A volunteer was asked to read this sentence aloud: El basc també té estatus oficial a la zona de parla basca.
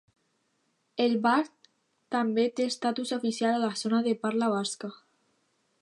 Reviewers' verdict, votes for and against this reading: rejected, 0, 2